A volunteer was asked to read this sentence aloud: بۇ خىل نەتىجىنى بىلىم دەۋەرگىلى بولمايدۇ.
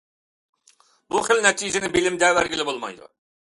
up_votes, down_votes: 0, 2